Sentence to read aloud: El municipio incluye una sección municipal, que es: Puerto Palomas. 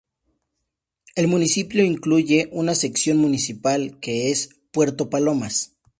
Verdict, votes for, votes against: accepted, 4, 0